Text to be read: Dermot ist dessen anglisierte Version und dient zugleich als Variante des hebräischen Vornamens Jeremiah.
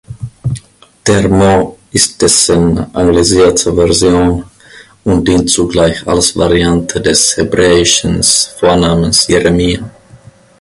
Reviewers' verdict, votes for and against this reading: rejected, 1, 2